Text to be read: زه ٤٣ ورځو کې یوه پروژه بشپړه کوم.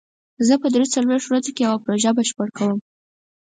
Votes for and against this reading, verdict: 0, 2, rejected